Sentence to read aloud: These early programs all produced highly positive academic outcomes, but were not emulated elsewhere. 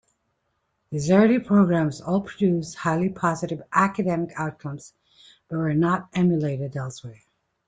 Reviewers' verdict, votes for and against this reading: accepted, 2, 0